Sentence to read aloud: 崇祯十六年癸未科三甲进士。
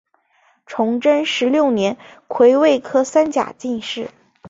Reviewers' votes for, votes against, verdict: 2, 1, accepted